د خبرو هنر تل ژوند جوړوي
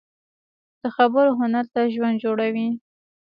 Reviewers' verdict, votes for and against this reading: accepted, 2, 0